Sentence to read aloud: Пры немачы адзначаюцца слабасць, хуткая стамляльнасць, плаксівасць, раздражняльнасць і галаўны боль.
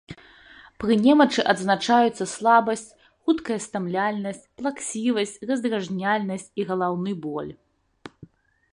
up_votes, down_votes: 2, 0